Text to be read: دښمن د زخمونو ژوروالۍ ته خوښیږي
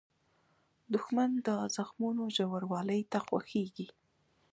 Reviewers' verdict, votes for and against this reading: rejected, 0, 2